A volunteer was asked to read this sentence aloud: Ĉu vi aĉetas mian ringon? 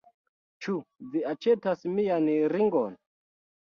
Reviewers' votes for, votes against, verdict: 2, 0, accepted